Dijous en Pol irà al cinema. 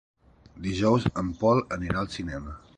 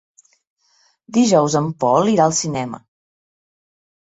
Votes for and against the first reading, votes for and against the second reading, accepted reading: 0, 2, 3, 0, second